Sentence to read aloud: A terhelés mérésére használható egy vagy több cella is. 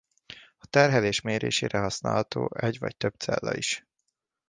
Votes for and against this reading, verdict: 0, 2, rejected